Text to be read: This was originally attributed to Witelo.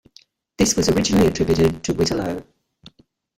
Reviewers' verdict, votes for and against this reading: rejected, 1, 2